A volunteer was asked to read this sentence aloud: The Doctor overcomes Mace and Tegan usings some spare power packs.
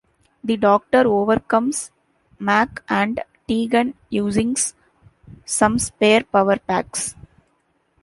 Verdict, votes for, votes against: rejected, 1, 2